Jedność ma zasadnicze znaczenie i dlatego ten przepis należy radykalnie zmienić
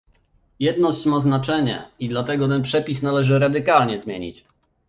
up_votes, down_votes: 1, 2